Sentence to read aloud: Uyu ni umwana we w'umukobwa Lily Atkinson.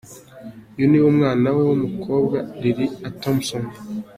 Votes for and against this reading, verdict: 1, 2, rejected